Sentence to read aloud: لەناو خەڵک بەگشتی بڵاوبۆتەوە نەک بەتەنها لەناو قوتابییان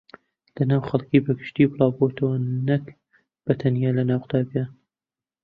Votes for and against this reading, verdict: 1, 3, rejected